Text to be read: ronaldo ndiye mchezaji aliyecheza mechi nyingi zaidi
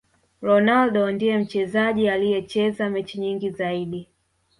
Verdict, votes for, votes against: rejected, 0, 2